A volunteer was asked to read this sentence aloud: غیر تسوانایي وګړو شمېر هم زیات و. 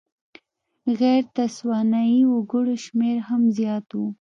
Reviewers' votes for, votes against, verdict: 3, 0, accepted